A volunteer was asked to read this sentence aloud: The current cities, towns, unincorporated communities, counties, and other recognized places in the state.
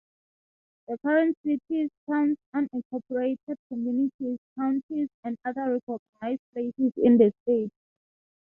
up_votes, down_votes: 3, 3